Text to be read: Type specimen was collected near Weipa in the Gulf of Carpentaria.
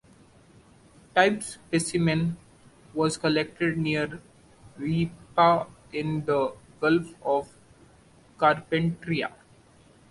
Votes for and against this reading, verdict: 2, 0, accepted